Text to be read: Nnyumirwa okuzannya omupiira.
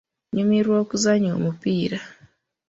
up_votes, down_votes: 2, 0